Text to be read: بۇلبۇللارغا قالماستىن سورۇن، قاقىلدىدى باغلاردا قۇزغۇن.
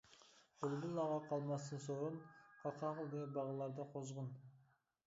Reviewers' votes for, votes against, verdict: 0, 2, rejected